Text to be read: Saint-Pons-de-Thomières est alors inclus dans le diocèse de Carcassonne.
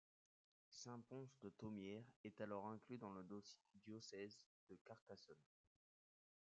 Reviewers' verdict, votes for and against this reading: rejected, 0, 2